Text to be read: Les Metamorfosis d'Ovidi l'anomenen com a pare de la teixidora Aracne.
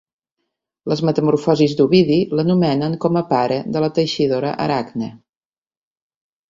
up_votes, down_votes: 2, 0